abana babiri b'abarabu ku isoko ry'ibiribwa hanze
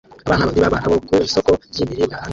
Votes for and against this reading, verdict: 0, 2, rejected